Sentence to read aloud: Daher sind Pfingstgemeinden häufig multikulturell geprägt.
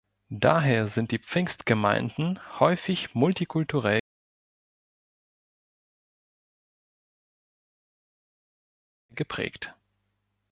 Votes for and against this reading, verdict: 1, 3, rejected